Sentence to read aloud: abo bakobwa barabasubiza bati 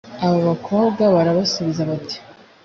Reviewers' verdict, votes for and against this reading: accepted, 3, 0